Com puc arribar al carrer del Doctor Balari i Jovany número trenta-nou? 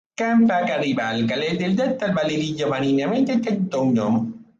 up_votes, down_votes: 0, 2